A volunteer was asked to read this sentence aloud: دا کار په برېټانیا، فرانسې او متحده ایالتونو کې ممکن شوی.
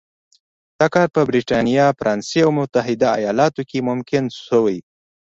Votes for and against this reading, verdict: 2, 0, accepted